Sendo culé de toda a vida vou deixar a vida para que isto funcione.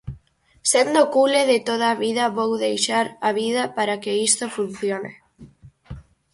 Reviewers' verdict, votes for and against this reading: rejected, 0, 4